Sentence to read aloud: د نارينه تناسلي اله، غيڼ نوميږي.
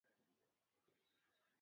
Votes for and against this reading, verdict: 0, 2, rejected